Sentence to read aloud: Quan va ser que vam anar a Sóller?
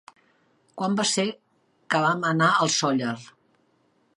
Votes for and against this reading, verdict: 0, 2, rejected